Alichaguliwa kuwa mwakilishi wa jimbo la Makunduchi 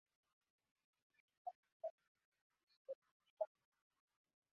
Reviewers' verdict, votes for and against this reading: rejected, 0, 2